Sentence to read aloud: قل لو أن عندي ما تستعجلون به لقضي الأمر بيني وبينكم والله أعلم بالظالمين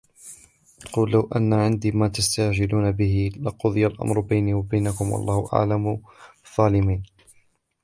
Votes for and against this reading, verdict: 1, 2, rejected